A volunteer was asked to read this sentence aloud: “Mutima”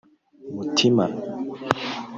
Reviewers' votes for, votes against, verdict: 1, 2, rejected